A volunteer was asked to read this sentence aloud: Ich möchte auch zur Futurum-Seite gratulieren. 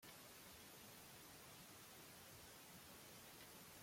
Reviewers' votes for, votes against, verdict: 0, 2, rejected